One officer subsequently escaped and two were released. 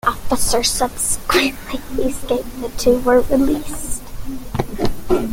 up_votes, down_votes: 0, 2